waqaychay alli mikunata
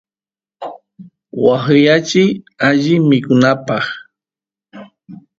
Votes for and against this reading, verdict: 0, 2, rejected